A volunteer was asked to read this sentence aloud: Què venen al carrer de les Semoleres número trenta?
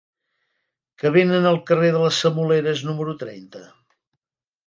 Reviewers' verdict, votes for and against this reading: rejected, 0, 2